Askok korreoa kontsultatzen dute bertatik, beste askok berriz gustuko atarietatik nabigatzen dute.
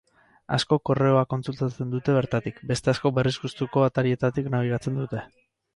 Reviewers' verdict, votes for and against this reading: accepted, 6, 0